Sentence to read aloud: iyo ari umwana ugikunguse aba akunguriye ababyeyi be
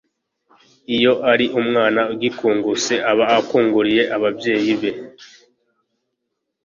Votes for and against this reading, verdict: 2, 0, accepted